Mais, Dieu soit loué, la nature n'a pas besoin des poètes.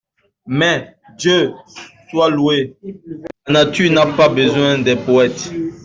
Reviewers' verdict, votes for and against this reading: rejected, 1, 2